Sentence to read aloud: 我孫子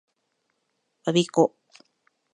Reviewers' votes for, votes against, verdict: 2, 0, accepted